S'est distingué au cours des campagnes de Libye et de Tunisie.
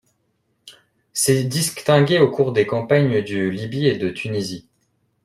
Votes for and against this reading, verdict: 2, 1, accepted